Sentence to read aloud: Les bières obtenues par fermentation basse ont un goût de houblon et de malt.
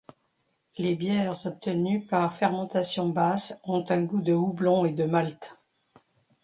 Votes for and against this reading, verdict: 2, 0, accepted